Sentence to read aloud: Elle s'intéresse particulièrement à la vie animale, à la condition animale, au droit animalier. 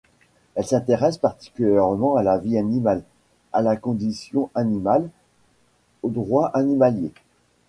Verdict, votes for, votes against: rejected, 1, 2